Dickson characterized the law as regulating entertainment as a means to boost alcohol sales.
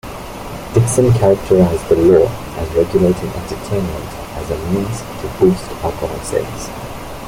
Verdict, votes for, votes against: rejected, 0, 2